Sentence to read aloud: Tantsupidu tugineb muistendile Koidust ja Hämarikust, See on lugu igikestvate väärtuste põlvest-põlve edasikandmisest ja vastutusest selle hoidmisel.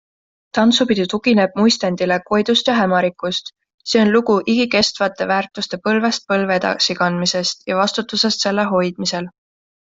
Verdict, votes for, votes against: accepted, 2, 0